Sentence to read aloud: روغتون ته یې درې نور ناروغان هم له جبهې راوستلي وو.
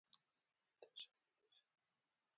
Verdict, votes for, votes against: rejected, 1, 2